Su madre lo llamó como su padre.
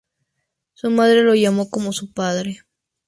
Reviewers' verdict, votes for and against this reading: accepted, 2, 0